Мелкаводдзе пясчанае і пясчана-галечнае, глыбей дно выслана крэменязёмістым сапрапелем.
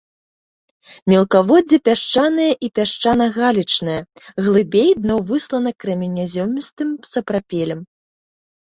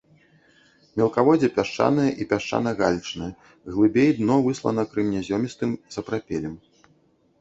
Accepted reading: first